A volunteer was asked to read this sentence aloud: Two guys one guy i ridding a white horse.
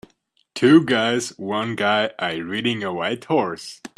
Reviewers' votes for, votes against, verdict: 2, 0, accepted